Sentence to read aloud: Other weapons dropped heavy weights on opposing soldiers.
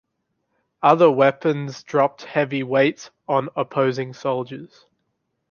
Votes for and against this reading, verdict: 2, 0, accepted